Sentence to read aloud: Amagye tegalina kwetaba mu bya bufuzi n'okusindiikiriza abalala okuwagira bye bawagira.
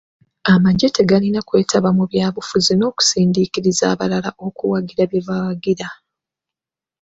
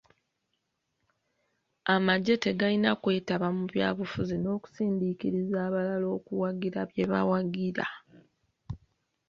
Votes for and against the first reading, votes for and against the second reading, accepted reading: 2, 1, 1, 2, first